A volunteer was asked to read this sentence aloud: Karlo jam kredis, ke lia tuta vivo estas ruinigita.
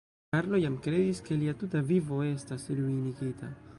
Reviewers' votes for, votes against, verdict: 1, 2, rejected